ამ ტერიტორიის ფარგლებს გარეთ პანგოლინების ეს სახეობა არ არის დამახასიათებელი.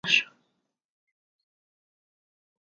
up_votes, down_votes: 0, 3